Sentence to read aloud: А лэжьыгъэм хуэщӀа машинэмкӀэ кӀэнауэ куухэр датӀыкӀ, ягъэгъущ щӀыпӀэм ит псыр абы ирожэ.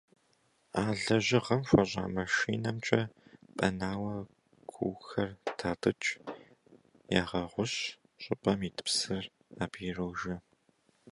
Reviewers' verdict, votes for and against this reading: rejected, 1, 2